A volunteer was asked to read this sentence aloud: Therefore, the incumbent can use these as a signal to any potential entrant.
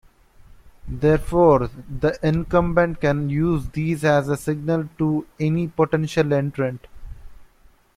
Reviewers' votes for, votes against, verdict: 0, 2, rejected